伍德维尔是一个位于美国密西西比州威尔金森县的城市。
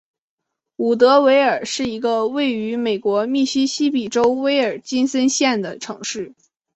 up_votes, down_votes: 7, 0